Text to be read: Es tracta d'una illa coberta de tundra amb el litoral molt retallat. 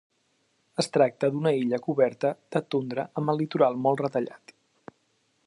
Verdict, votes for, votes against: accepted, 2, 0